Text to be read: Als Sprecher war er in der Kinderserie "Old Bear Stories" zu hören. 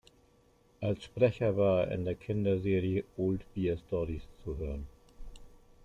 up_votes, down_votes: 1, 2